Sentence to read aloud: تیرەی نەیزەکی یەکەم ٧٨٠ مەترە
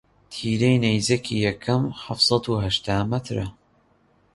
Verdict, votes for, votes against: rejected, 0, 2